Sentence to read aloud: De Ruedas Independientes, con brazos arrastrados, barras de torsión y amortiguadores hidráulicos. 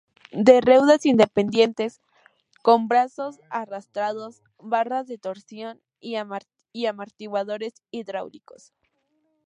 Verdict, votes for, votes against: rejected, 0, 2